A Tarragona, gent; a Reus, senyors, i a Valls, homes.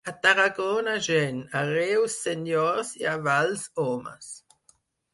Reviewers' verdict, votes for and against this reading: accepted, 4, 0